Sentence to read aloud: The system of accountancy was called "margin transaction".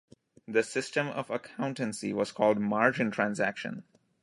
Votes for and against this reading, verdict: 2, 1, accepted